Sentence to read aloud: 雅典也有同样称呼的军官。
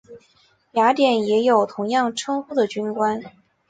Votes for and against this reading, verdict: 2, 0, accepted